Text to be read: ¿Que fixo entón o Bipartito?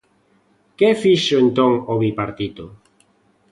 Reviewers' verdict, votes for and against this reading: accepted, 2, 0